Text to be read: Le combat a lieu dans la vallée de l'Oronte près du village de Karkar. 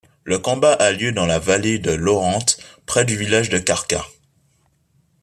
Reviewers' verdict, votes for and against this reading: accepted, 3, 0